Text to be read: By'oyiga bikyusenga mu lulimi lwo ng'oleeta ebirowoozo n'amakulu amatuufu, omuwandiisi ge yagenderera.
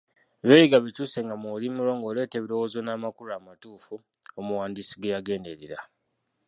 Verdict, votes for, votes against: rejected, 1, 2